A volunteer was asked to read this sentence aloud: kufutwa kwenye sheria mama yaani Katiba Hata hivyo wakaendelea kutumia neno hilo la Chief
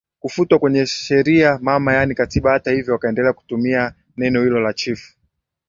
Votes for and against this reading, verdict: 1, 2, rejected